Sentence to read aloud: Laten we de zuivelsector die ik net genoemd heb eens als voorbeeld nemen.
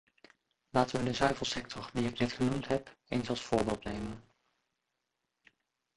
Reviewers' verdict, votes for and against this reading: rejected, 0, 2